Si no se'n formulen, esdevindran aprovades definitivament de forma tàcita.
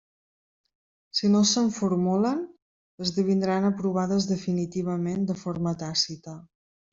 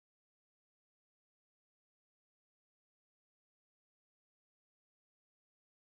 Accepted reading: first